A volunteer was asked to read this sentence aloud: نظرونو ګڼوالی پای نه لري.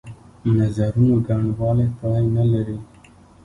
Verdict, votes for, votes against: accepted, 2, 1